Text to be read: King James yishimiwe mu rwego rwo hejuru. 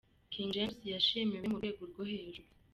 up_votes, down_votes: 2, 1